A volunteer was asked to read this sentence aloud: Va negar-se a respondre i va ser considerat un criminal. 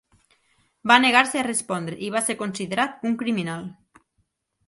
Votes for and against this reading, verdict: 4, 0, accepted